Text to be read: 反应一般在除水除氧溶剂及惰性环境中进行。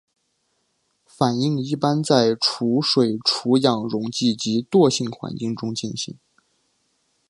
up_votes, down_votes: 5, 0